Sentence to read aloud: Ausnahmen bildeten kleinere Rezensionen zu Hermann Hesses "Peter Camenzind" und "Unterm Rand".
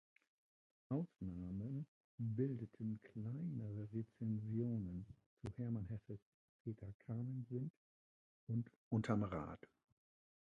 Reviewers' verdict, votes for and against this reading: rejected, 1, 2